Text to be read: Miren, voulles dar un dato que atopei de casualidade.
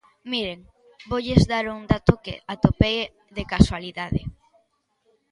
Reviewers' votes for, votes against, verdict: 1, 2, rejected